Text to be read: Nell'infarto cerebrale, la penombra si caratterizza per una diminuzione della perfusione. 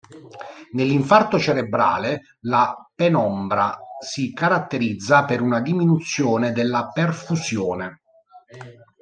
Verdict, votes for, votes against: accepted, 2, 0